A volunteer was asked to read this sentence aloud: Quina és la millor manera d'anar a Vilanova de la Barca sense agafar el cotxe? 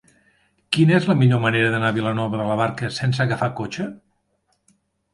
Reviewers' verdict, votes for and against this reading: rejected, 2, 3